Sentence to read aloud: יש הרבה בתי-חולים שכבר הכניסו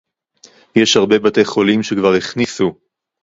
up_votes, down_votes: 0, 2